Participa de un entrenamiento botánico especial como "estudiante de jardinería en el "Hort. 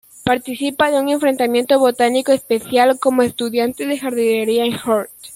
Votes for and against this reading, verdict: 1, 2, rejected